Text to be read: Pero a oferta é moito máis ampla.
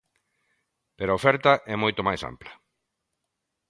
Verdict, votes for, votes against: accepted, 2, 0